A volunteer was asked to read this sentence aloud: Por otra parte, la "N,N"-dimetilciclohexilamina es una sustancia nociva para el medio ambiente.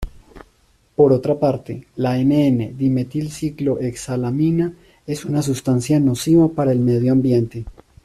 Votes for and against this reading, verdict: 2, 1, accepted